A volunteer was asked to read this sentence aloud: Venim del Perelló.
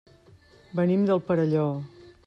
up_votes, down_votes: 4, 0